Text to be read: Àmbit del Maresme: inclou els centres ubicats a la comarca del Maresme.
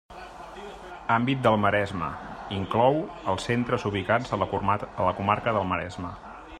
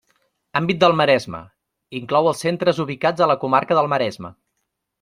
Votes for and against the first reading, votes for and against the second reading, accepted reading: 0, 2, 3, 0, second